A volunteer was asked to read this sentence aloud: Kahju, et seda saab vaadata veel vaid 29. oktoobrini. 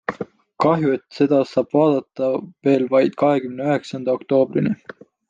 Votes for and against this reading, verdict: 0, 2, rejected